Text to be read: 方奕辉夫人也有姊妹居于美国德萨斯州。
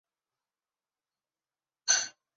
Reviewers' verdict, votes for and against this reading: rejected, 0, 3